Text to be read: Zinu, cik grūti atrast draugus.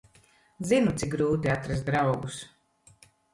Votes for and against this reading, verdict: 2, 0, accepted